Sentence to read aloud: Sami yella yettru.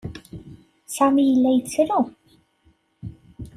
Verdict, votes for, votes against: accepted, 2, 0